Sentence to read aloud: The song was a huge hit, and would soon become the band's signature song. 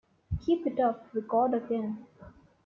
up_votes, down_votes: 0, 2